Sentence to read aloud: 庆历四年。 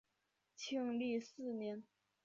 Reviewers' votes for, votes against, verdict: 5, 0, accepted